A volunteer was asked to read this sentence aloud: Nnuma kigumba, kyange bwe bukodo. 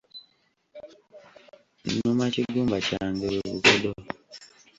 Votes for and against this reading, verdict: 1, 2, rejected